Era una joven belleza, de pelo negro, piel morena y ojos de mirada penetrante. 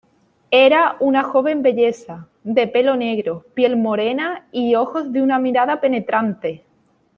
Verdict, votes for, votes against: rejected, 1, 2